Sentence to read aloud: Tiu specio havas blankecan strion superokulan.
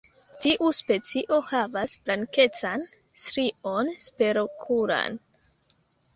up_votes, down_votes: 0, 2